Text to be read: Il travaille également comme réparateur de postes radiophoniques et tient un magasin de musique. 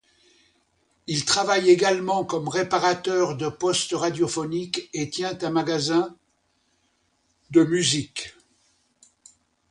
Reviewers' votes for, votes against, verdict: 2, 0, accepted